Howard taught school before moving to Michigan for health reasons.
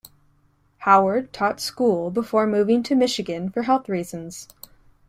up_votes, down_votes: 2, 0